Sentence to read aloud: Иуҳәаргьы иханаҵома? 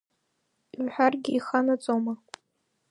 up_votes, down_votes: 0, 2